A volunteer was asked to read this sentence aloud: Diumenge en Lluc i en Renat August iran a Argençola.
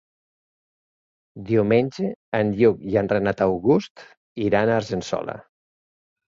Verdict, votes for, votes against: accepted, 3, 0